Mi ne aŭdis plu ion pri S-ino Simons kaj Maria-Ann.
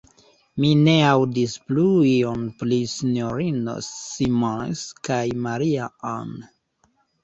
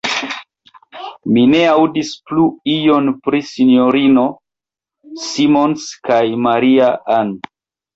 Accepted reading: first